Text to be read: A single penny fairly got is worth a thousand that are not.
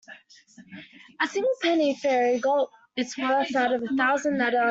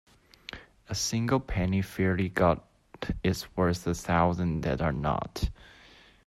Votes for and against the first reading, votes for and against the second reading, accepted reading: 0, 2, 2, 0, second